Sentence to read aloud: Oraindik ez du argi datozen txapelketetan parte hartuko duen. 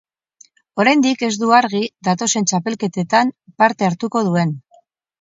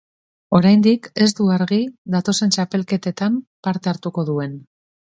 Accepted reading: second